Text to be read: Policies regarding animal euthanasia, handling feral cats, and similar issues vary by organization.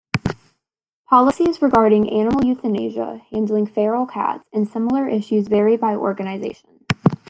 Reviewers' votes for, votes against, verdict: 0, 2, rejected